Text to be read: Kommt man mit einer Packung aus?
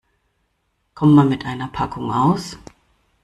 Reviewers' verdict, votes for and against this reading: rejected, 1, 2